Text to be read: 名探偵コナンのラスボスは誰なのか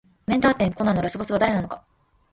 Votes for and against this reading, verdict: 2, 0, accepted